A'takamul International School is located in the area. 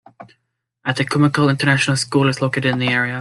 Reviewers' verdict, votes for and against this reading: accepted, 2, 1